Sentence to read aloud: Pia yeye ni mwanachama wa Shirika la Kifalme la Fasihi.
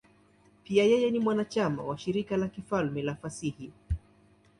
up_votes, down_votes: 2, 0